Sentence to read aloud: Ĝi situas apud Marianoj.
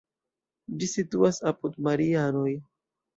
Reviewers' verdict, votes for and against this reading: rejected, 1, 2